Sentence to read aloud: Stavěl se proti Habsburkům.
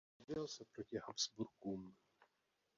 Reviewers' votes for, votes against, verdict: 0, 2, rejected